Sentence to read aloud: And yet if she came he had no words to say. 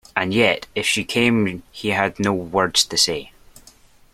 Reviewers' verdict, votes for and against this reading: accepted, 2, 0